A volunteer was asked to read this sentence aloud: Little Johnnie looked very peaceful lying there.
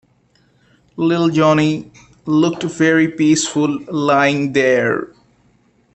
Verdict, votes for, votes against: accepted, 2, 0